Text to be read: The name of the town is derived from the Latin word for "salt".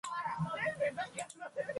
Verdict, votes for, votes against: rejected, 0, 2